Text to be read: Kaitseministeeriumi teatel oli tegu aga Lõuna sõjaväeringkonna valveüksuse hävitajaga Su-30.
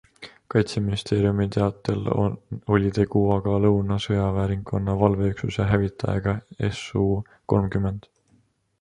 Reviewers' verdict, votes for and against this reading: rejected, 0, 2